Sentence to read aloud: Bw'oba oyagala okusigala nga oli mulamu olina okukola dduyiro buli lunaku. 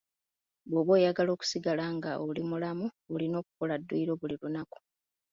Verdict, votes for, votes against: accepted, 2, 0